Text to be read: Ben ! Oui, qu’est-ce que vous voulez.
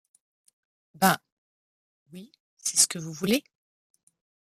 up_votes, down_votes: 0, 2